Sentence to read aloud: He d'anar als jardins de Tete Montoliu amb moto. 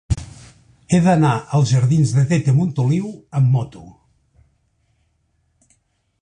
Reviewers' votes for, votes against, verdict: 4, 0, accepted